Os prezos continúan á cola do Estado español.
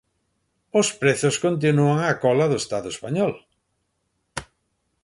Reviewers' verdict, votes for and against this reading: rejected, 0, 2